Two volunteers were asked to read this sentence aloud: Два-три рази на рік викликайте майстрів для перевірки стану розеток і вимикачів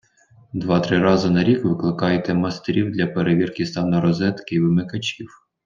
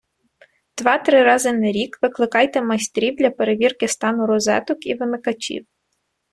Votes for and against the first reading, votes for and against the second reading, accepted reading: 1, 2, 2, 0, second